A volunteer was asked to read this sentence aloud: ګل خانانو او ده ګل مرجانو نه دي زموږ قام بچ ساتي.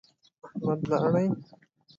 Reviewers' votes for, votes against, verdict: 0, 2, rejected